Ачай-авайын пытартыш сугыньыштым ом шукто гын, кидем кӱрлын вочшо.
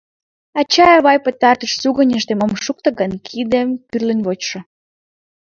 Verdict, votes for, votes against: rejected, 1, 2